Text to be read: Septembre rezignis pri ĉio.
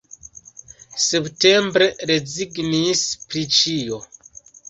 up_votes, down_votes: 2, 0